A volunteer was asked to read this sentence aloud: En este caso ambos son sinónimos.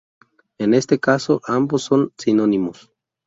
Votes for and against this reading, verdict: 4, 0, accepted